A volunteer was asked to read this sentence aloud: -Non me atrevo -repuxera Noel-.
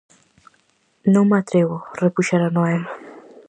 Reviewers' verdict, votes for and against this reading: accepted, 4, 0